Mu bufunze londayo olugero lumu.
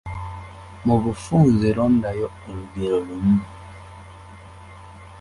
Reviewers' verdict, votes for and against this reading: accepted, 2, 0